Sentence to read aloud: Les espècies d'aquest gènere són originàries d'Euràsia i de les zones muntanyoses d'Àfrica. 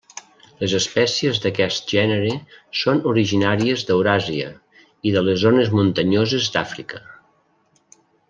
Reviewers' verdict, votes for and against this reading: accepted, 3, 0